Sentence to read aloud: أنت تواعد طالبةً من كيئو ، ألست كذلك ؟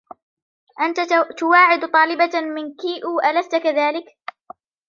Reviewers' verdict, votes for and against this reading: accepted, 2, 0